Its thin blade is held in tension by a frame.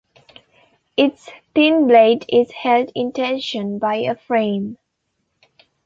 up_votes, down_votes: 3, 2